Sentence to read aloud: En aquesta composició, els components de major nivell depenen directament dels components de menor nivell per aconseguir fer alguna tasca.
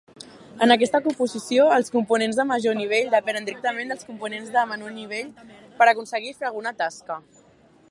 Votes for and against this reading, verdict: 2, 4, rejected